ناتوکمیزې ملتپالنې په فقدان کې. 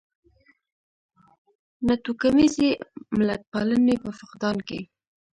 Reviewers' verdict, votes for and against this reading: rejected, 1, 2